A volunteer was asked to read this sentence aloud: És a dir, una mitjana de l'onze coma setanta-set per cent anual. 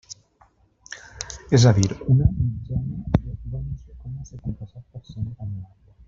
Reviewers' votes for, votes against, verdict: 0, 3, rejected